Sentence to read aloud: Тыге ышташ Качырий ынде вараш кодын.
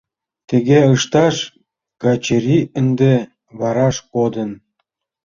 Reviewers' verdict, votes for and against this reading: accepted, 2, 0